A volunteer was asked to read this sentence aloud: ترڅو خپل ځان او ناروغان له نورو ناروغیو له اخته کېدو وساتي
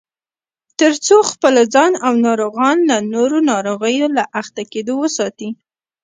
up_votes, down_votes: 0, 2